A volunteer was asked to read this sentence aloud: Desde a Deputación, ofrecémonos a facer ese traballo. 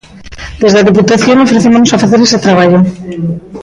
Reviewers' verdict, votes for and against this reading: rejected, 1, 2